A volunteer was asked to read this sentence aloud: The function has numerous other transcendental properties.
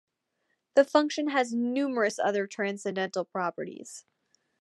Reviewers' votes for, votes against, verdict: 2, 0, accepted